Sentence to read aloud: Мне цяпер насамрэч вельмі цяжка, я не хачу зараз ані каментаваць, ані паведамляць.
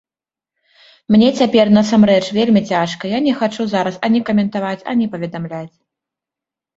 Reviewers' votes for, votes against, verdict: 2, 0, accepted